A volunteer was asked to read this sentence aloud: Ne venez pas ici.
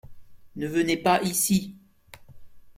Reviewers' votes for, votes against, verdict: 2, 0, accepted